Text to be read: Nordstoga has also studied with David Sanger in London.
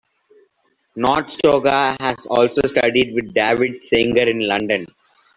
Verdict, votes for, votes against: accepted, 2, 0